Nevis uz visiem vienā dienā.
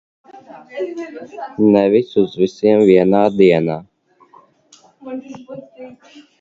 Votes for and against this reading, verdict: 1, 2, rejected